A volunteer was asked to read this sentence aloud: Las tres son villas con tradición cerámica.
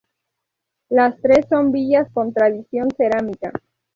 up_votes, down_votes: 2, 0